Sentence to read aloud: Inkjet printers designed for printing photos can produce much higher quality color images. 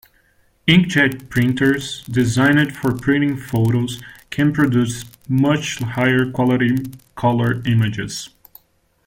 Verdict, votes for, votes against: accepted, 2, 0